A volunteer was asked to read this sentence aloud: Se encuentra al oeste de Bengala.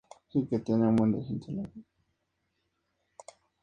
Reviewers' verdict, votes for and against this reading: rejected, 0, 4